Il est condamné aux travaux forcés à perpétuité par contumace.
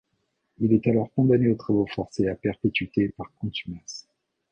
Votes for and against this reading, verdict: 1, 2, rejected